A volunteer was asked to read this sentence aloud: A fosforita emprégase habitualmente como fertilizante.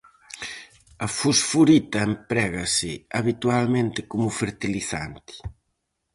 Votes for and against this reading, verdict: 4, 0, accepted